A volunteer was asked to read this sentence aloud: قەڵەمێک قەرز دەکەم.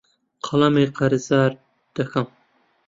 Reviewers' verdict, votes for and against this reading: rejected, 0, 2